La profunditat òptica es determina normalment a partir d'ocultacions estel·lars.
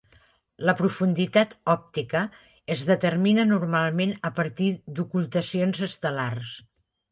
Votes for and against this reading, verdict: 3, 0, accepted